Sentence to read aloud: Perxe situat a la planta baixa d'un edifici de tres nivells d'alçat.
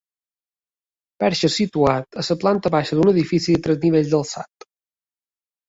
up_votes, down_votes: 2, 0